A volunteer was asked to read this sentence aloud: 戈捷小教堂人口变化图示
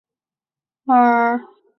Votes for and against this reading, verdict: 0, 4, rejected